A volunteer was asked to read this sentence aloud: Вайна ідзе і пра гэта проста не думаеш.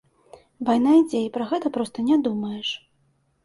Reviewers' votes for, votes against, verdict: 2, 1, accepted